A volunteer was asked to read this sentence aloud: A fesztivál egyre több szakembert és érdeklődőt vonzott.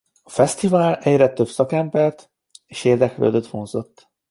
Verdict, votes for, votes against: accepted, 2, 0